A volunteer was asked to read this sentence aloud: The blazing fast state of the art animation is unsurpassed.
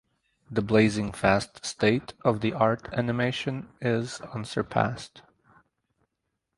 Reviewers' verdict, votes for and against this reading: accepted, 2, 0